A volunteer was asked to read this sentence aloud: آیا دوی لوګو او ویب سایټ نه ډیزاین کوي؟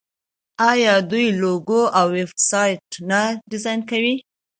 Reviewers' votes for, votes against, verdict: 2, 0, accepted